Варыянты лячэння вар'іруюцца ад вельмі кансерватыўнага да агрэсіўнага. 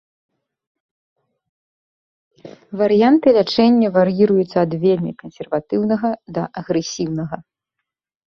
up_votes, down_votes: 0, 2